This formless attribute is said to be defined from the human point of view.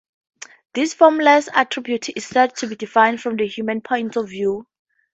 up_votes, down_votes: 4, 0